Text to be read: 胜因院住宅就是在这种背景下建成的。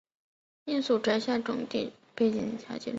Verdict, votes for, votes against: rejected, 0, 5